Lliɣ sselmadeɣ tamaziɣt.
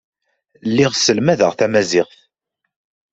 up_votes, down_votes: 2, 0